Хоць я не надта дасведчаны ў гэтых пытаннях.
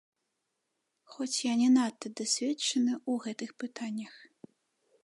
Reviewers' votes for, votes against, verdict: 2, 0, accepted